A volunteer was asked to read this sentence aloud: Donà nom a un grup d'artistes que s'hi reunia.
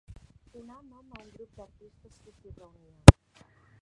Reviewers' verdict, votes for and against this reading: rejected, 1, 2